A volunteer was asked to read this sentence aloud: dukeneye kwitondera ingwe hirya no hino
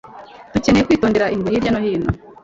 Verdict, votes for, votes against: rejected, 1, 2